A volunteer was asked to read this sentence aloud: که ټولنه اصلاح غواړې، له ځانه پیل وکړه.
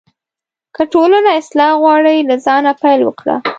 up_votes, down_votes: 0, 2